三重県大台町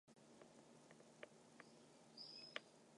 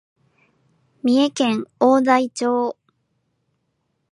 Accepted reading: second